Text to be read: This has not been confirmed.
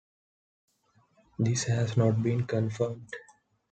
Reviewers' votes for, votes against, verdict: 2, 0, accepted